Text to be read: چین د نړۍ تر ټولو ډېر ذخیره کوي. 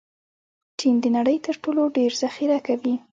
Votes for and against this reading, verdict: 0, 2, rejected